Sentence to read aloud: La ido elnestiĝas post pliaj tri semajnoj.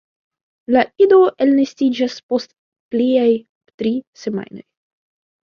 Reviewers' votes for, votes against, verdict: 2, 0, accepted